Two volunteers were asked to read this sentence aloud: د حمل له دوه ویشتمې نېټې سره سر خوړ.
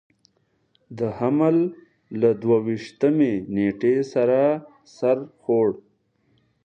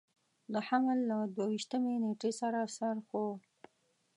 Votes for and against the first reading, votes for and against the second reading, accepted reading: 2, 0, 1, 2, first